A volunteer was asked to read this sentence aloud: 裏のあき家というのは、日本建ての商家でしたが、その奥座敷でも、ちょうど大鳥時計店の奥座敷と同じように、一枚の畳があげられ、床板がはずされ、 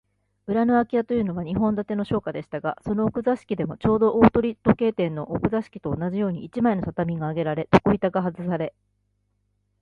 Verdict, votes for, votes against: accepted, 2, 0